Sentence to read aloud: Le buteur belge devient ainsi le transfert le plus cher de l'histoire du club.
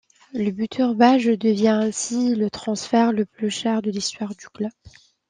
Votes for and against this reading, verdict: 0, 2, rejected